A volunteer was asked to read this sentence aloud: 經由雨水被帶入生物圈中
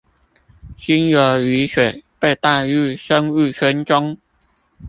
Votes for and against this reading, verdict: 0, 2, rejected